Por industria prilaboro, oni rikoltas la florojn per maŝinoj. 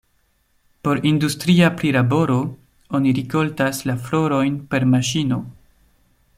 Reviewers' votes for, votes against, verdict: 0, 2, rejected